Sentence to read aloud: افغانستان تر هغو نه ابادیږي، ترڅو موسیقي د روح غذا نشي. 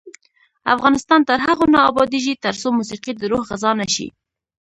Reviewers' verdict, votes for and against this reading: rejected, 1, 2